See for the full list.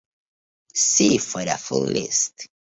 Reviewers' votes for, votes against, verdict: 2, 1, accepted